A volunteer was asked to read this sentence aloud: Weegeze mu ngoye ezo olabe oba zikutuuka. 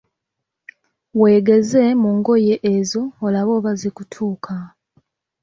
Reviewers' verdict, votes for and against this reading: accepted, 2, 0